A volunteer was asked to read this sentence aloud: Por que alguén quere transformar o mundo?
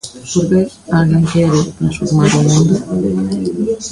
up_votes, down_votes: 0, 2